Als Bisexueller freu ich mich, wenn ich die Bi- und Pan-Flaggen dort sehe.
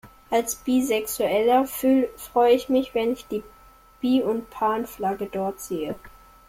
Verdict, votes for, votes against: rejected, 0, 2